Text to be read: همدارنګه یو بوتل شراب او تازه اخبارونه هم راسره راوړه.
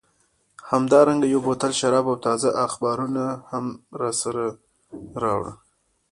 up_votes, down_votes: 0, 2